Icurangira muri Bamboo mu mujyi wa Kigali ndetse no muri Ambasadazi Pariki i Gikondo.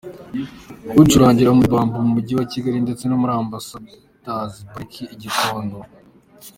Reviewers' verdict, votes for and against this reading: accepted, 2, 0